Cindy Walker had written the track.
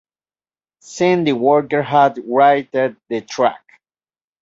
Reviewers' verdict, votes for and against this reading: rejected, 0, 2